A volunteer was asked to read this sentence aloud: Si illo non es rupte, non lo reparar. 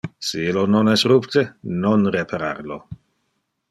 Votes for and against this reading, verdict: 1, 2, rejected